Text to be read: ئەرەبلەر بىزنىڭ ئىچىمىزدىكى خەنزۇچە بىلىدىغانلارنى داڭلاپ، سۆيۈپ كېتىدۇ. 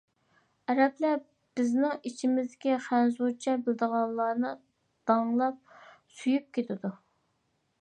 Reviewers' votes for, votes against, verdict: 2, 0, accepted